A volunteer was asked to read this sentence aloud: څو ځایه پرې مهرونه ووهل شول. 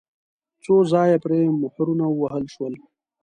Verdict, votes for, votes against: accepted, 2, 0